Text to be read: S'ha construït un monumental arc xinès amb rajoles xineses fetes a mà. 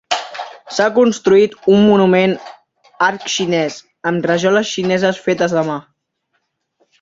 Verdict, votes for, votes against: rejected, 0, 2